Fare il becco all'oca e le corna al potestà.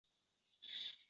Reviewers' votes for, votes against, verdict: 0, 2, rejected